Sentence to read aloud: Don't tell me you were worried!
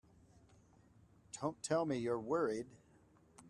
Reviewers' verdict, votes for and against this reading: rejected, 2, 4